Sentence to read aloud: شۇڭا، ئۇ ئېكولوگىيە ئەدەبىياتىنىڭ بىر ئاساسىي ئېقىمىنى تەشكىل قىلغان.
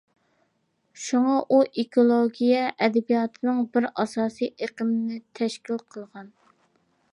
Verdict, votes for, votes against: accepted, 3, 0